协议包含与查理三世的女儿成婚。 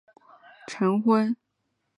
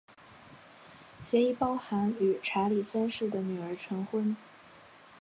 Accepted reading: second